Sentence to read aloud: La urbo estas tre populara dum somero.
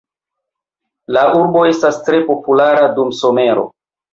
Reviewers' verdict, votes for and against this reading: accepted, 2, 0